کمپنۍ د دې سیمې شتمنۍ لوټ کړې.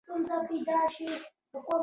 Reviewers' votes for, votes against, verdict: 0, 2, rejected